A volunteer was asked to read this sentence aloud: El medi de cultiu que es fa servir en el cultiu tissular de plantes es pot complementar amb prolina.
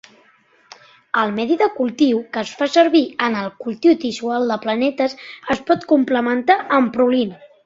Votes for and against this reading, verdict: 0, 2, rejected